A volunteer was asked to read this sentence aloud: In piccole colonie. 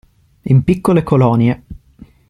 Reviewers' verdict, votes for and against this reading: accepted, 2, 0